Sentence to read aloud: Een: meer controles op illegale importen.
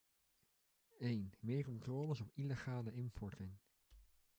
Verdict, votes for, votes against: accepted, 2, 1